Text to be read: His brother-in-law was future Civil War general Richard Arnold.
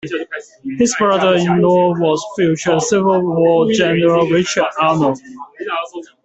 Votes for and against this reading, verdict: 1, 2, rejected